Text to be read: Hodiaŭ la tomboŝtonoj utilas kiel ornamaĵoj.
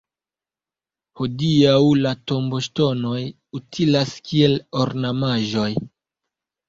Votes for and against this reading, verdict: 2, 0, accepted